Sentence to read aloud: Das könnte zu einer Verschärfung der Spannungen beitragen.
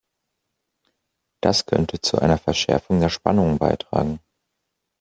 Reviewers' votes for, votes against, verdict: 2, 0, accepted